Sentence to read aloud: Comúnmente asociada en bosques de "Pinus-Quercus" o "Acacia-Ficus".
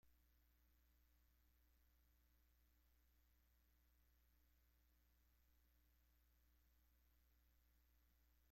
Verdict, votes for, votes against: rejected, 0, 2